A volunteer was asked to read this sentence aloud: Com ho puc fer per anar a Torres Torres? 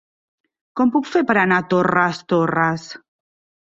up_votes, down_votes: 3, 1